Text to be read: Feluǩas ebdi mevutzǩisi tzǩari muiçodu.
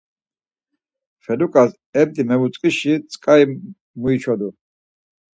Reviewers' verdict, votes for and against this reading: accepted, 4, 0